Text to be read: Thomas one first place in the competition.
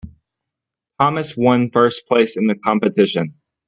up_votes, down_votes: 1, 2